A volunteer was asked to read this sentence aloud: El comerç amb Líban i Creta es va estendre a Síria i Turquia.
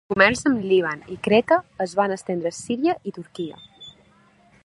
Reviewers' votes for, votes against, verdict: 0, 2, rejected